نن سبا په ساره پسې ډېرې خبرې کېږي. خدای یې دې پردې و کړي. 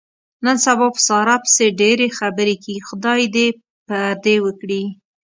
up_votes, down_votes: 2, 0